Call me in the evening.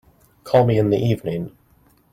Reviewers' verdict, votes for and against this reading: accepted, 2, 0